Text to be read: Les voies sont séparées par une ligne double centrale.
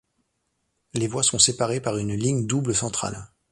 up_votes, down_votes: 2, 0